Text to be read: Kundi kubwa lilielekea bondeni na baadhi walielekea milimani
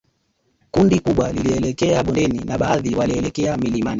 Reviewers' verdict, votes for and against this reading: rejected, 1, 2